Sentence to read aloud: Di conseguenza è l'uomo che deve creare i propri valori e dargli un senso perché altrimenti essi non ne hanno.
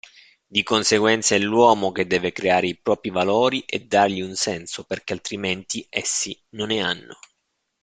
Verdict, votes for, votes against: accepted, 2, 0